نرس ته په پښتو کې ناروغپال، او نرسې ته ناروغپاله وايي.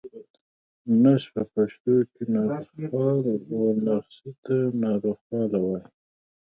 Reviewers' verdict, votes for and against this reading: accepted, 2, 1